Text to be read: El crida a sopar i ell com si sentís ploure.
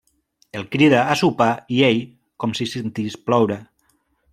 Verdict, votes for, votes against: accepted, 3, 0